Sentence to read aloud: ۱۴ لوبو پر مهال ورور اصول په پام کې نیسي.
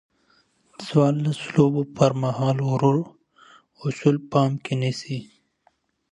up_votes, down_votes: 0, 2